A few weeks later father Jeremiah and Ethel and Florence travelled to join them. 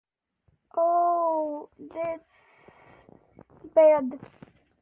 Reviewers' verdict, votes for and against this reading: rejected, 0, 2